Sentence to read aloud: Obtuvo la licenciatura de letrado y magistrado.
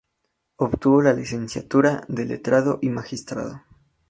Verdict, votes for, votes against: accepted, 2, 0